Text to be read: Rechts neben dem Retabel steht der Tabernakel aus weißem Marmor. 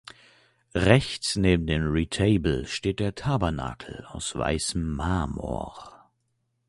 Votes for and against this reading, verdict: 2, 0, accepted